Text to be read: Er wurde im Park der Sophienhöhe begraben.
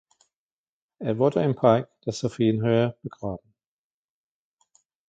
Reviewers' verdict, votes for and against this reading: accepted, 2, 1